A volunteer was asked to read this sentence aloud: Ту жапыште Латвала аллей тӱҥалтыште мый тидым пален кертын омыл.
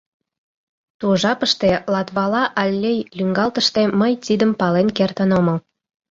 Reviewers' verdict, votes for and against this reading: rejected, 0, 2